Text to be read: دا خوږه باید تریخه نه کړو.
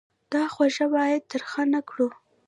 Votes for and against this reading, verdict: 0, 2, rejected